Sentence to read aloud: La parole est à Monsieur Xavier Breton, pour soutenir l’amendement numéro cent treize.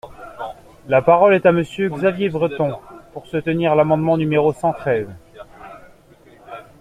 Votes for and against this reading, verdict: 2, 0, accepted